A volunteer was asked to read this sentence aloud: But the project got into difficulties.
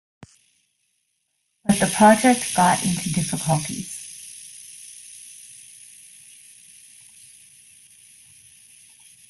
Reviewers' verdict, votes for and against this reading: rejected, 0, 2